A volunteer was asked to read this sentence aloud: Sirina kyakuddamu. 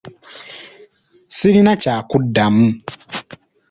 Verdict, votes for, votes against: accepted, 2, 0